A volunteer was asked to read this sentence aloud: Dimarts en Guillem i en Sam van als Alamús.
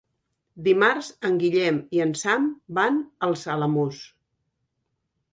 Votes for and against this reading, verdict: 2, 0, accepted